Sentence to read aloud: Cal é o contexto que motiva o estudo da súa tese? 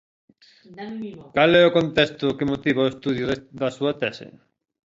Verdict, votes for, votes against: rejected, 0, 2